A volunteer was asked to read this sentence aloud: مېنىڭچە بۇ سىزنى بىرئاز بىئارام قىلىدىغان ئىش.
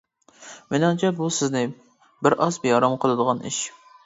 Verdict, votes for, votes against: accepted, 2, 0